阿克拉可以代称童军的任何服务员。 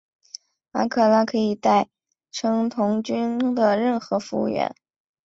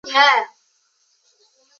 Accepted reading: first